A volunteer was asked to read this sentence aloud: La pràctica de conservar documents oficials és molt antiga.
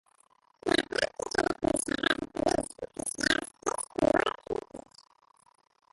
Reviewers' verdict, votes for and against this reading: rejected, 0, 3